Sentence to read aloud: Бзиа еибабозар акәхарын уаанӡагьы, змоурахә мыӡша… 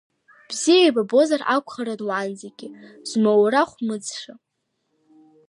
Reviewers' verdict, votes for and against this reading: accepted, 2, 1